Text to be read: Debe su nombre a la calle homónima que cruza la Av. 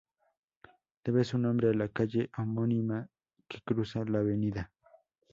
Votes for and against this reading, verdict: 0, 2, rejected